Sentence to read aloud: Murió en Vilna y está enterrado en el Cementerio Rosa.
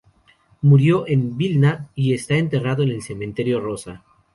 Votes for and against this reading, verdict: 2, 2, rejected